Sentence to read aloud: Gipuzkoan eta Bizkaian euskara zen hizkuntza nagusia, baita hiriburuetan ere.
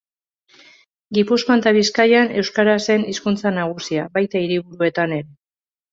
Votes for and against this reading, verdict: 0, 2, rejected